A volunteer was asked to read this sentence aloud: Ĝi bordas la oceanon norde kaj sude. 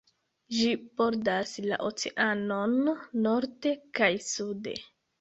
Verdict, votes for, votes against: accepted, 2, 0